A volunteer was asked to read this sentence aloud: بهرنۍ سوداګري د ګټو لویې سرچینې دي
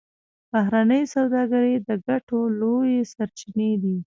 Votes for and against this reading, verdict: 2, 1, accepted